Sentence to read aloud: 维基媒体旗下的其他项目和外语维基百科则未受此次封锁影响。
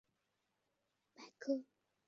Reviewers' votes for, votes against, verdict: 0, 3, rejected